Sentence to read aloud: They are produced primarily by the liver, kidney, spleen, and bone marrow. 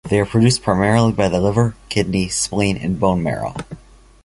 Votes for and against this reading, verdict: 2, 0, accepted